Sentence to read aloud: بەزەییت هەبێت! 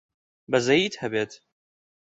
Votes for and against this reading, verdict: 2, 0, accepted